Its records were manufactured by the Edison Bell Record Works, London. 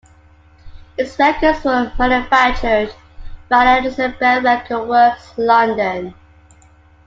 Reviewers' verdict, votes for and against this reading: rejected, 1, 2